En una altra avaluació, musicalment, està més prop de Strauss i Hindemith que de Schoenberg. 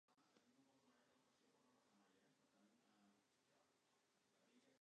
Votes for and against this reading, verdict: 1, 2, rejected